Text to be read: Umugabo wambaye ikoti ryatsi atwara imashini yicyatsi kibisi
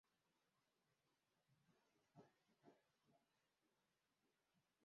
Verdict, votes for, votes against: rejected, 0, 2